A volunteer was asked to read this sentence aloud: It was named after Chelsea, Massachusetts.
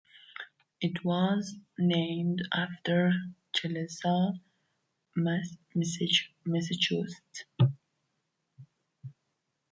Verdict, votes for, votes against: rejected, 0, 2